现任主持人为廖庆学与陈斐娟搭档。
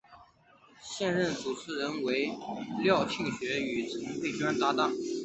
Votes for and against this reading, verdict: 3, 0, accepted